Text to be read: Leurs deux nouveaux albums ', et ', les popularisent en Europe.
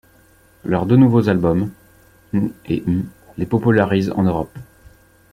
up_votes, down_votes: 0, 2